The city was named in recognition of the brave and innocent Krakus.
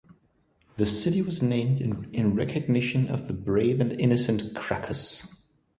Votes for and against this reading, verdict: 1, 2, rejected